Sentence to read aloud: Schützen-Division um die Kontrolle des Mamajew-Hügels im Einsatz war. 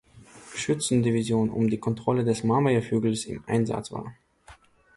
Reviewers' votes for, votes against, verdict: 2, 0, accepted